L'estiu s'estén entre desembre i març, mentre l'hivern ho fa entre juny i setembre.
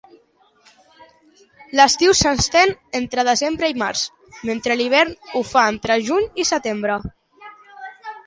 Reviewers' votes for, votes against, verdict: 2, 0, accepted